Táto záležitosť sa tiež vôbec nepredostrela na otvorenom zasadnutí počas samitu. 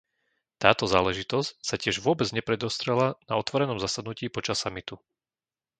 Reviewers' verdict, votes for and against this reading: accepted, 2, 0